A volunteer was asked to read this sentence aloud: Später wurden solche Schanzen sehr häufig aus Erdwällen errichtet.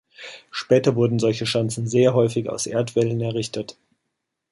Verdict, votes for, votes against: accepted, 2, 0